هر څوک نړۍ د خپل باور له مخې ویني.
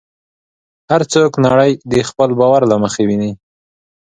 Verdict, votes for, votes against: accepted, 2, 1